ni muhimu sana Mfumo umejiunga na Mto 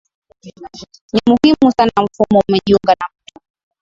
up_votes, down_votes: 2, 0